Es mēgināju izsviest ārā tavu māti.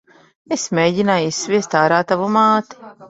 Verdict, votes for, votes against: rejected, 1, 2